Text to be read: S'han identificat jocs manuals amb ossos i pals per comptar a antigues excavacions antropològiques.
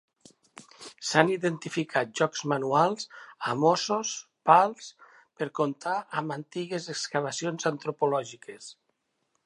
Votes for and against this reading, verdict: 0, 2, rejected